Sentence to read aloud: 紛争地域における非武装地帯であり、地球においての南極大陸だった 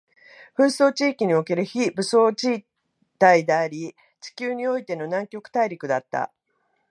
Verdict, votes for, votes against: rejected, 1, 2